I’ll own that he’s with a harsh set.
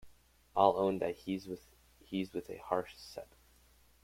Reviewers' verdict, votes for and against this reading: accepted, 2, 1